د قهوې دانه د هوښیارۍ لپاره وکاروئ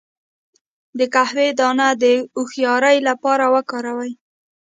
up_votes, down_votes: 0, 2